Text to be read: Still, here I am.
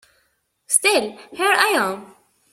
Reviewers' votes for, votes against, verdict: 2, 0, accepted